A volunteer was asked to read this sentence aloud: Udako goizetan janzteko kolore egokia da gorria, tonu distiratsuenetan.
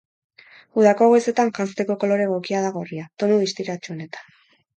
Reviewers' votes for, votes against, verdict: 4, 0, accepted